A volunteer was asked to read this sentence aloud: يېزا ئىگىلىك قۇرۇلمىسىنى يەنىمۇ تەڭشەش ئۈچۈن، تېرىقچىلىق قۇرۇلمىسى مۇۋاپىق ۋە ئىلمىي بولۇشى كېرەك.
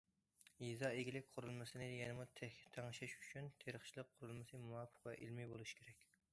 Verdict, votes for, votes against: rejected, 1, 2